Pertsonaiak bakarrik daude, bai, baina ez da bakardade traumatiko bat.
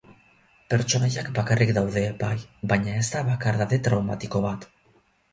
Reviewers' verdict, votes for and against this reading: rejected, 0, 2